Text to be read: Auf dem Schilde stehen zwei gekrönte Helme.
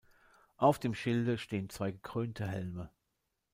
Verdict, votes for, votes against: accepted, 2, 1